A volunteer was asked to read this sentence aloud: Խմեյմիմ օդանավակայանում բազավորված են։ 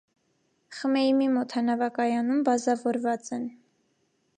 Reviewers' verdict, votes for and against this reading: accepted, 2, 0